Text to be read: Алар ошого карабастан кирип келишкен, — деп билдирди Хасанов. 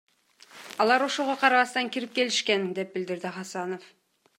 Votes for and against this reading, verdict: 2, 0, accepted